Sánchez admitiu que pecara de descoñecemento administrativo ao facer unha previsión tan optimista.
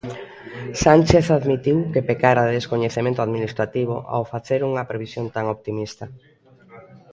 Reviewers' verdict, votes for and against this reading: accepted, 2, 0